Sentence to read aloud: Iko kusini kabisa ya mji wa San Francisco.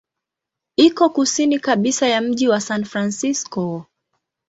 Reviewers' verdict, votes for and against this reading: accepted, 2, 0